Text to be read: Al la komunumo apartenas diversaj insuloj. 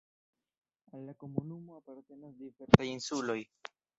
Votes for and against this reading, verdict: 1, 2, rejected